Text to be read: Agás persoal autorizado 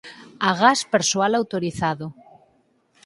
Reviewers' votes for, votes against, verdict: 4, 0, accepted